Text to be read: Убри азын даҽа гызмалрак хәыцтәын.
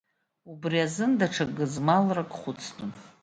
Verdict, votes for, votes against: accepted, 2, 0